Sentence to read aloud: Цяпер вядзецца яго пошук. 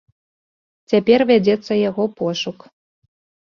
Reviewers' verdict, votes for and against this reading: accepted, 2, 0